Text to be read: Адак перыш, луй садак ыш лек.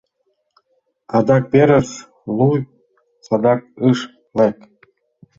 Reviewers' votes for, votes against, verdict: 2, 1, accepted